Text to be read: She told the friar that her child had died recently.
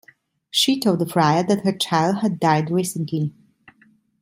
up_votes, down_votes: 1, 2